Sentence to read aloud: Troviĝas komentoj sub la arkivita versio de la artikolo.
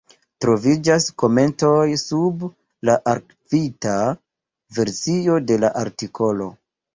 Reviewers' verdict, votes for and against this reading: accepted, 2, 0